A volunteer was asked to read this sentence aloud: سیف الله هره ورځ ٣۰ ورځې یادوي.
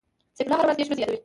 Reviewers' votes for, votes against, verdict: 0, 2, rejected